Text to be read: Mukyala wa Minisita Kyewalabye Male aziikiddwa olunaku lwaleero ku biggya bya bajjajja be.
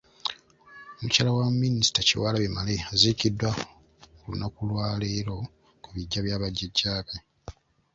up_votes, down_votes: 0, 2